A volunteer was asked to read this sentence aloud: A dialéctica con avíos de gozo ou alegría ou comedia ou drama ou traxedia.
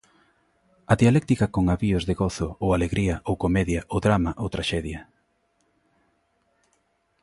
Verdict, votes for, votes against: accepted, 2, 0